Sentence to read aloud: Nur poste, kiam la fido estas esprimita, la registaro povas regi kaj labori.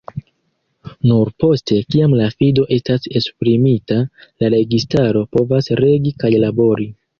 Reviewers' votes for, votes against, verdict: 2, 0, accepted